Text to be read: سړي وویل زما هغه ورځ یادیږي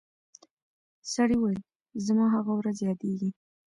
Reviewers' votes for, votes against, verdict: 1, 2, rejected